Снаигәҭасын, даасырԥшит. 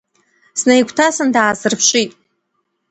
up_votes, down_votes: 2, 0